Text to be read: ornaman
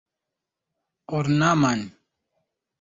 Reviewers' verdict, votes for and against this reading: accepted, 2, 0